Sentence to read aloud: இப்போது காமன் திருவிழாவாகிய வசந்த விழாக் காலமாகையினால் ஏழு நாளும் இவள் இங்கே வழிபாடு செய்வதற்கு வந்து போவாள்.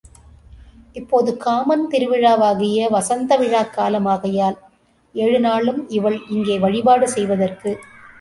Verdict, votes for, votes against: rejected, 0, 2